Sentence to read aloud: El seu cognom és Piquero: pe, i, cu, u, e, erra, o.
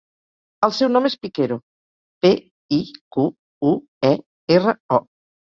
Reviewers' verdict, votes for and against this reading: rejected, 0, 4